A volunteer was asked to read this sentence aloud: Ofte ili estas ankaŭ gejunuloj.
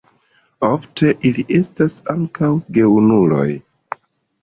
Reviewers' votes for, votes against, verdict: 1, 2, rejected